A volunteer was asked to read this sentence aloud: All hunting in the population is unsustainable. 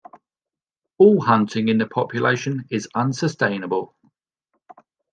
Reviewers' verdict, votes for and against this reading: accepted, 2, 0